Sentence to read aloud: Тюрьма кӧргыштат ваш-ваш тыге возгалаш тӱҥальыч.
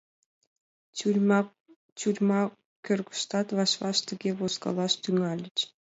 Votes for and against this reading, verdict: 1, 2, rejected